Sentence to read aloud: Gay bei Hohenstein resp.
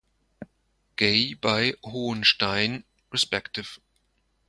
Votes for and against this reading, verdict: 0, 2, rejected